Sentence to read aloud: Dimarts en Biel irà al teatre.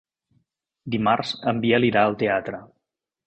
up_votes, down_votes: 3, 0